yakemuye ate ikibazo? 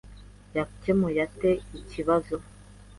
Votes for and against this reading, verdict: 2, 0, accepted